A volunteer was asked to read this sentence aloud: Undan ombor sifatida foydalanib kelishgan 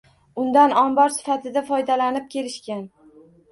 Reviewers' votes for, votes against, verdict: 1, 2, rejected